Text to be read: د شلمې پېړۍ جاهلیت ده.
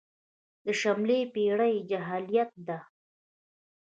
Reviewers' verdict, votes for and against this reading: rejected, 0, 2